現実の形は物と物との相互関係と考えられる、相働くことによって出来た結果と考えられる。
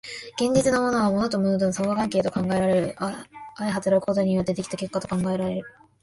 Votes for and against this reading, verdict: 1, 2, rejected